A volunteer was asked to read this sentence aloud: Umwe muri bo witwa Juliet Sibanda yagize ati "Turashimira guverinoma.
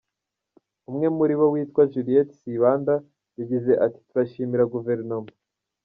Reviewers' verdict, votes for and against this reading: accepted, 2, 0